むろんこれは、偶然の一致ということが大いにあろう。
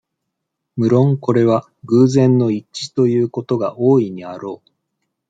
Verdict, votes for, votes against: accepted, 2, 0